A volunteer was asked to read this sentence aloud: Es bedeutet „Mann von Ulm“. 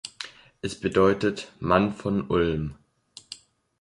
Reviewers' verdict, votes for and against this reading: accepted, 2, 0